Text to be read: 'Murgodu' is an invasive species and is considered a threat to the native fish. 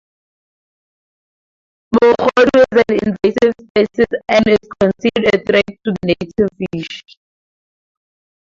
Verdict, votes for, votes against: rejected, 0, 2